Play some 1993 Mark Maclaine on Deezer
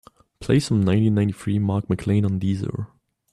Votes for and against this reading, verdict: 0, 2, rejected